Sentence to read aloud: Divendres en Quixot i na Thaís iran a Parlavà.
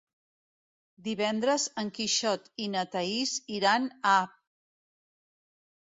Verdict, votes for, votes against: rejected, 0, 2